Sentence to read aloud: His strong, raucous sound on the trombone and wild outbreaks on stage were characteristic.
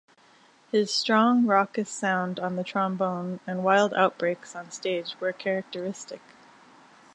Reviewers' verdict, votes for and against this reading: accepted, 2, 0